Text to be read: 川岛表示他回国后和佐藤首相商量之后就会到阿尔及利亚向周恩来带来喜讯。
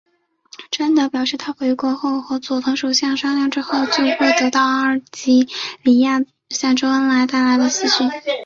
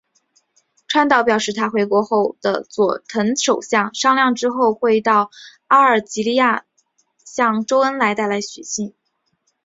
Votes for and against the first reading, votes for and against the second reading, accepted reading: 2, 1, 2, 5, first